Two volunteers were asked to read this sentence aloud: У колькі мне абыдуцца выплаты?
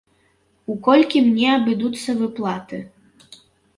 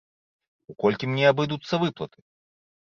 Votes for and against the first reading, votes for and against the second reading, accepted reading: 0, 2, 2, 0, second